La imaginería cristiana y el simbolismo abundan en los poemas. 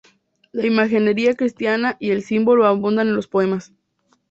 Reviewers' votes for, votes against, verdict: 0, 2, rejected